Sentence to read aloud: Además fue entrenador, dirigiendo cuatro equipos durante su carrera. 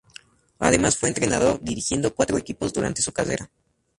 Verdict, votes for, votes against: rejected, 0, 2